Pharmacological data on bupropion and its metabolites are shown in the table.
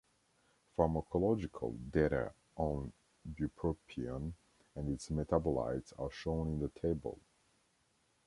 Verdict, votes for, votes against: rejected, 1, 2